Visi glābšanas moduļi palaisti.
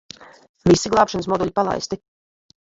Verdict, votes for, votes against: rejected, 0, 2